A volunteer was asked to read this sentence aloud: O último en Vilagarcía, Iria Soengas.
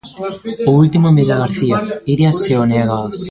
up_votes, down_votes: 0, 2